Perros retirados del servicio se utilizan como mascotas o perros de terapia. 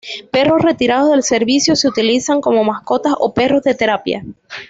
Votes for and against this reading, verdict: 3, 0, accepted